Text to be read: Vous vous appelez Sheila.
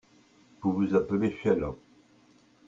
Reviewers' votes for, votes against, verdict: 2, 0, accepted